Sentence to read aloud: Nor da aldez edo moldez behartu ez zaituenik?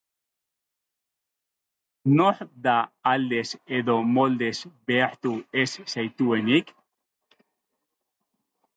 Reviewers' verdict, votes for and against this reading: accepted, 2, 0